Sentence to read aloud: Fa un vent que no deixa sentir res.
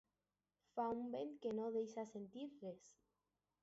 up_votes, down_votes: 2, 0